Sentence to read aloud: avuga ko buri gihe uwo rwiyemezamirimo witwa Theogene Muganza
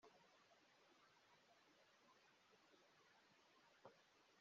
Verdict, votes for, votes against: rejected, 0, 2